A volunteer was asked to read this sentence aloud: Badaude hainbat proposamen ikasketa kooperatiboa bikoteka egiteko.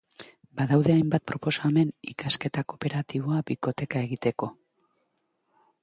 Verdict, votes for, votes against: accepted, 3, 0